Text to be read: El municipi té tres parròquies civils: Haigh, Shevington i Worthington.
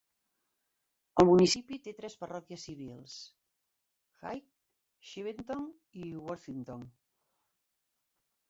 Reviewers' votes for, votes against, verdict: 2, 3, rejected